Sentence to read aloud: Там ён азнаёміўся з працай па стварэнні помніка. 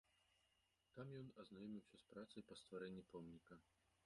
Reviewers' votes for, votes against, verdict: 1, 2, rejected